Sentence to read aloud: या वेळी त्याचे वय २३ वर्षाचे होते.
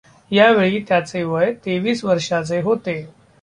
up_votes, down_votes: 0, 2